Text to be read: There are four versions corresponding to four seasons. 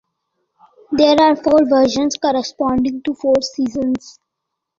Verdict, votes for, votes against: accepted, 2, 0